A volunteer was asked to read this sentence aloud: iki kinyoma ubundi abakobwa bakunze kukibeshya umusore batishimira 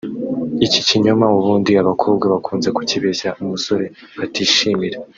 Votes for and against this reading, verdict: 2, 0, accepted